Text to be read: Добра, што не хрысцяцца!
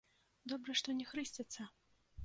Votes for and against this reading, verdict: 2, 0, accepted